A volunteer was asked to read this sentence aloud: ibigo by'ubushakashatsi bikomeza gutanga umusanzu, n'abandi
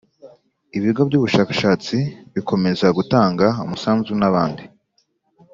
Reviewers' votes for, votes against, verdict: 3, 0, accepted